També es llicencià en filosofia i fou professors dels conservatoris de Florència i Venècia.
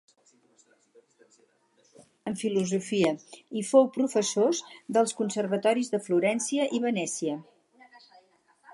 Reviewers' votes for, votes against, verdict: 0, 2, rejected